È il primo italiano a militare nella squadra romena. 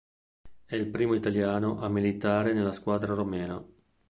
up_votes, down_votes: 2, 0